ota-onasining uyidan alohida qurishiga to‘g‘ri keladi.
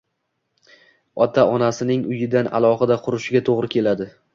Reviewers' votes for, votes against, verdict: 2, 1, accepted